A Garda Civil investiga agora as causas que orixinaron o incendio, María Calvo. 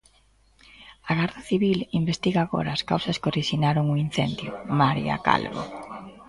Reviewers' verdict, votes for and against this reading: rejected, 0, 2